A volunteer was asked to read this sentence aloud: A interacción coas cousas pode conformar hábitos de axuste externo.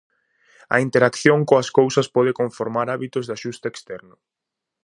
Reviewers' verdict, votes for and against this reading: accepted, 2, 0